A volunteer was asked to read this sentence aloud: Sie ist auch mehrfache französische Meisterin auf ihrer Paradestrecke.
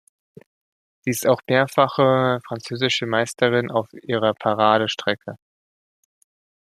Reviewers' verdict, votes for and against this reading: accepted, 2, 0